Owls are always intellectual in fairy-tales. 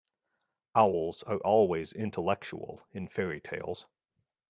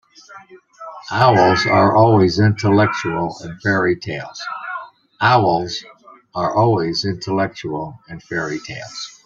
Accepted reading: first